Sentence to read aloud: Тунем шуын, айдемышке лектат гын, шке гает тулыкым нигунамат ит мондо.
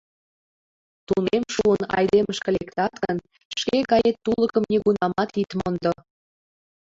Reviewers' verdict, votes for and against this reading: accepted, 2, 0